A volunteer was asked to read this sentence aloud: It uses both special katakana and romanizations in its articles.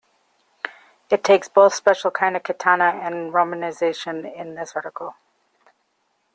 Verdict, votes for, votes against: rejected, 0, 2